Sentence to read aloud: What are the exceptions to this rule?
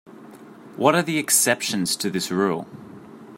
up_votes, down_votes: 2, 0